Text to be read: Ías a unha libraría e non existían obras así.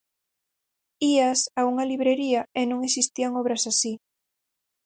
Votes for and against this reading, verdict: 0, 6, rejected